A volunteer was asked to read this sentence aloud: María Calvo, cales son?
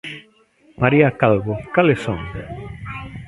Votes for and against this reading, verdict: 2, 1, accepted